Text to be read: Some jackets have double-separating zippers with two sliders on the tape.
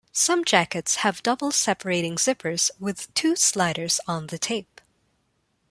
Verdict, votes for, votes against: accepted, 2, 0